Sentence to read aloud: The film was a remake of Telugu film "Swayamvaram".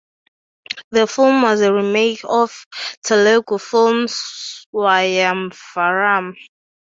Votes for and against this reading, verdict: 2, 0, accepted